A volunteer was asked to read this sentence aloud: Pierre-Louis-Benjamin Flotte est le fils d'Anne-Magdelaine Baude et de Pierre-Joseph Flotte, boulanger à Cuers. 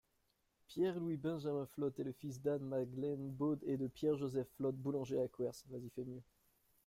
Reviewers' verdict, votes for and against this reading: accepted, 2, 1